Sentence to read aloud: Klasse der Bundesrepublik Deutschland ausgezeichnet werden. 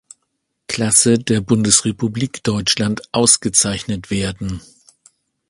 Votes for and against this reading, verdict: 2, 0, accepted